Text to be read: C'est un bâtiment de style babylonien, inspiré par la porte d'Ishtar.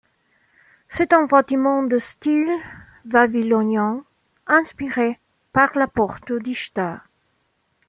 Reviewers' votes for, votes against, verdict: 1, 2, rejected